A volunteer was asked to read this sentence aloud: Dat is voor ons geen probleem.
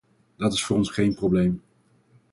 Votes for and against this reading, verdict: 4, 0, accepted